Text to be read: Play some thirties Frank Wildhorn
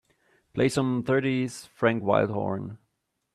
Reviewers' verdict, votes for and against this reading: accepted, 2, 0